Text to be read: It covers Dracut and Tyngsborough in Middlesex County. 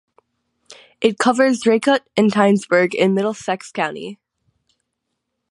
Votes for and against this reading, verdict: 3, 3, rejected